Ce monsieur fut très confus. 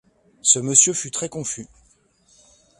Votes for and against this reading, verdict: 2, 0, accepted